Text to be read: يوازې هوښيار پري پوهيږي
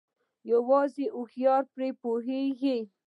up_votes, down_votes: 1, 2